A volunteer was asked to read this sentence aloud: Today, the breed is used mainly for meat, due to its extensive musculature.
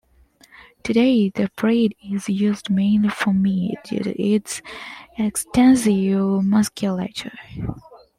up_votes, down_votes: 0, 2